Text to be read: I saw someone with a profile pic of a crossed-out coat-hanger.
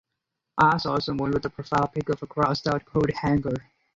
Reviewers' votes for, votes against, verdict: 0, 4, rejected